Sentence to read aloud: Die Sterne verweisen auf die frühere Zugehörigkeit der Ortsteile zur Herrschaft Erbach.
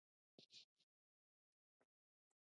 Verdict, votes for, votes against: rejected, 0, 2